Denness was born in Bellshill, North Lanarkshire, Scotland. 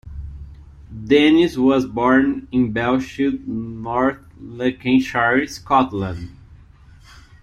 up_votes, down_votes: 1, 2